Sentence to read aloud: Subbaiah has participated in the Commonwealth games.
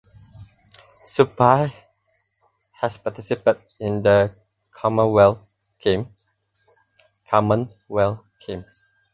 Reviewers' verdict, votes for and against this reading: rejected, 0, 10